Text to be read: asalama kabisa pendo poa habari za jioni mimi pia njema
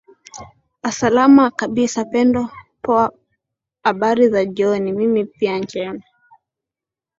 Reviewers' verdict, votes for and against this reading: accepted, 2, 0